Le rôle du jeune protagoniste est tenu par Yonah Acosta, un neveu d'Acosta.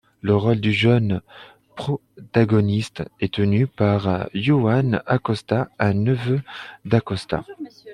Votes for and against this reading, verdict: 1, 2, rejected